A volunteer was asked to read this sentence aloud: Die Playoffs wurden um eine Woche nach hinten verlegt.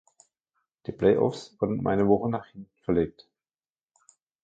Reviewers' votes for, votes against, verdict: 1, 3, rejected